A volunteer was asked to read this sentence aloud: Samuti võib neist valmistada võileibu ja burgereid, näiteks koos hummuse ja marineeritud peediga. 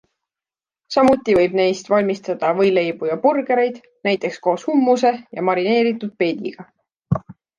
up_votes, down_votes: 2, 0